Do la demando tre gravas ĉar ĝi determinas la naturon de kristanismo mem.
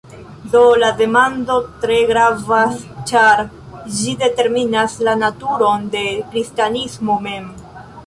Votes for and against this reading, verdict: 1, 2, rejected